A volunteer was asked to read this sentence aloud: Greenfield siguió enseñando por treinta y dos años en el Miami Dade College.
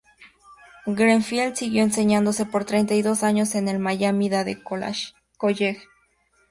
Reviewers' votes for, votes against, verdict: 0, 2, rejected